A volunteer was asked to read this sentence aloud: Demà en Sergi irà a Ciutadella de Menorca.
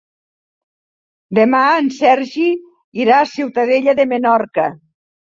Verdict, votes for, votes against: accepted, 2, 0